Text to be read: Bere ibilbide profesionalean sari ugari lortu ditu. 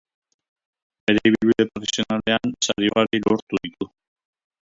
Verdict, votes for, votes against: rejected, 0, 2